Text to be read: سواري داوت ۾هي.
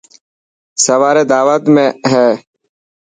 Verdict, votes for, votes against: accepted, 2, 0